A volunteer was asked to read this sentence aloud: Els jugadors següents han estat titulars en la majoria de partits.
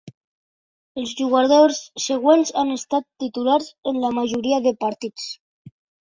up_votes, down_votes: 3, 0